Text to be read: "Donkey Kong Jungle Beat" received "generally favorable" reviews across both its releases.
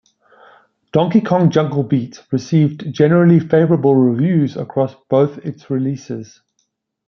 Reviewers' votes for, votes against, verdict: 2, 0, accepted